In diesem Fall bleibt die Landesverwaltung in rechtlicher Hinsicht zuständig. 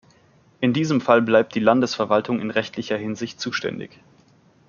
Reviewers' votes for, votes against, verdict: 2, 0, accepted